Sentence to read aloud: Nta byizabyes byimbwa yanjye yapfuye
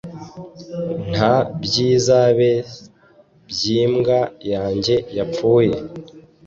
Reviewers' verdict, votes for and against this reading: rejected, 1, 2